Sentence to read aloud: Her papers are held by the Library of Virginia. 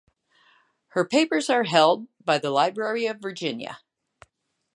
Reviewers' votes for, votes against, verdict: 2, 0, accepted